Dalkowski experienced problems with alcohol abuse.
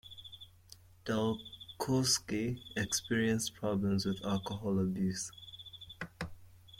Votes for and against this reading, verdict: 2, 0, accepted